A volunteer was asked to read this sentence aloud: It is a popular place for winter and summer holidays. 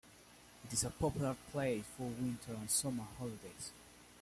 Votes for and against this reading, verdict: 2, 1, accepted